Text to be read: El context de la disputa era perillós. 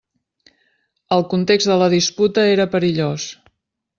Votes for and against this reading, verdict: 3, 0, accepted